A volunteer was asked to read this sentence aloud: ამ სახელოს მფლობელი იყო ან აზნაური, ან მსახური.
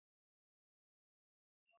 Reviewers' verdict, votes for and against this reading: rejected, 0, 2